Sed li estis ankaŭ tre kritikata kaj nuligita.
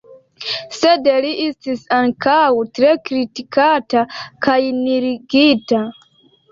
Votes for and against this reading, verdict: 2, 1, accepted